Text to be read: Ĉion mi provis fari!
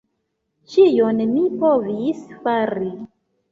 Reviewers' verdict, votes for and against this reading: accepted, 2, 1